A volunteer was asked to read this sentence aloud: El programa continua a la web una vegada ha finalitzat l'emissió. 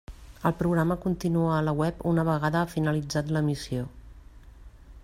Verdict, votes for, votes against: accepted, 2, 0